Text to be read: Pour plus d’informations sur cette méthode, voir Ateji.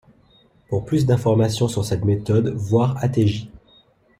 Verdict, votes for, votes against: accepted, 2, 0